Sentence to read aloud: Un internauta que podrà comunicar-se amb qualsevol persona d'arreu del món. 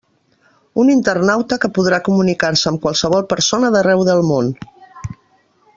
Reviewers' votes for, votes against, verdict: 3, 0, accepted